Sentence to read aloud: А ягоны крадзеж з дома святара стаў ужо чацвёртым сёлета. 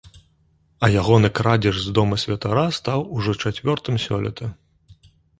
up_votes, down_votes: 0, 2